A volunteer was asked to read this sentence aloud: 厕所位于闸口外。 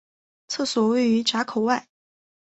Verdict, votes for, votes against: accepted, 2, 0